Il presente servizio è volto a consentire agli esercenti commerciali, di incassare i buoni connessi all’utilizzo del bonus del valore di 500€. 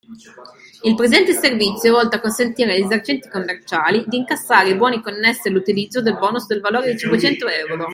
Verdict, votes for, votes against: rejected, 0, 2